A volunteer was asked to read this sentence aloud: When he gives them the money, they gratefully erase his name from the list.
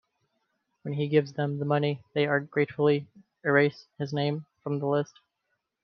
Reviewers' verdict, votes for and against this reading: rejected, 0, 2